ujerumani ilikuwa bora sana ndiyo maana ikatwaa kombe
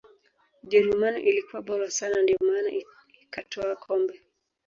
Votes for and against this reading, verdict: 1, 2, rejected